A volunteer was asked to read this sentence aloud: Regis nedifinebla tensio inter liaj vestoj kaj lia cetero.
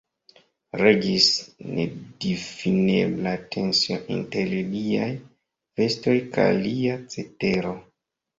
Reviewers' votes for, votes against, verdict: 0, 2, rejected